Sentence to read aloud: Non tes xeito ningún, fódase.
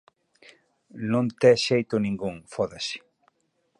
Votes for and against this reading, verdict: 4, 0, accepted